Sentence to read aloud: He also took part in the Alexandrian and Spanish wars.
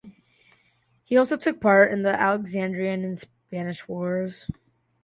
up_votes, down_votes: 2, 0